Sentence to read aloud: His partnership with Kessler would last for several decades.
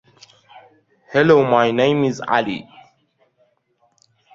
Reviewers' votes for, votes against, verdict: 0, 2, rejected